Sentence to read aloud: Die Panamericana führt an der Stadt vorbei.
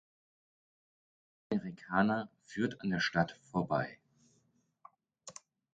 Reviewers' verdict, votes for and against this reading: rejected, 0, 4